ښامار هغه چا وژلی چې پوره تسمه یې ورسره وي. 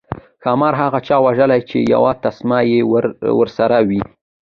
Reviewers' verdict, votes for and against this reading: rejected, 1, 2